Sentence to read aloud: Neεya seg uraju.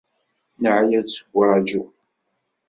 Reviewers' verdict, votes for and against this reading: rejected, 1, 2